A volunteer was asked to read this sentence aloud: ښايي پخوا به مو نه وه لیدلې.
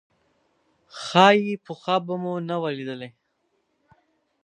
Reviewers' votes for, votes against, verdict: 4, 0, accepted